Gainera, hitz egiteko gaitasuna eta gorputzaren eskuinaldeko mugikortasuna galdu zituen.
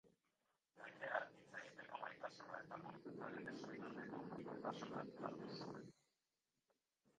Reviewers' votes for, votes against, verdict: 0, 4, rejected